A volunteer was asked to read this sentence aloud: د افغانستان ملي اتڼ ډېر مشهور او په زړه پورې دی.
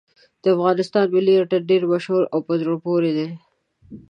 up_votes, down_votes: 2, 1